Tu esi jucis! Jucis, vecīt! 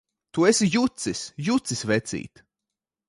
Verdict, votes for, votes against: accepted, 2, 0